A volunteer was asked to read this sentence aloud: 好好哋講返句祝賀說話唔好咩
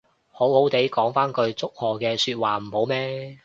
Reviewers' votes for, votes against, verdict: 2, 1, accepted